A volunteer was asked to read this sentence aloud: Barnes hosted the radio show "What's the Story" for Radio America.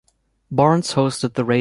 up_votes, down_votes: 0, 2